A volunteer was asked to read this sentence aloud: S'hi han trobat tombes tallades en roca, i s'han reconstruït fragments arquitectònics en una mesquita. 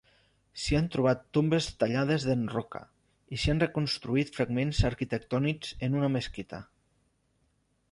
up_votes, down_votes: 2, 0